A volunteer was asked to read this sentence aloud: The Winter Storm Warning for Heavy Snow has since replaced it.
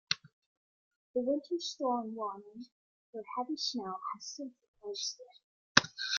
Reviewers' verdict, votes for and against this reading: rejected, 1, 2